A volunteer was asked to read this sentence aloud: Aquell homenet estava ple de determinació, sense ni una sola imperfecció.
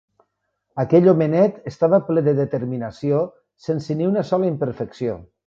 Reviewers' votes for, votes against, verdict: 3, 0, accepted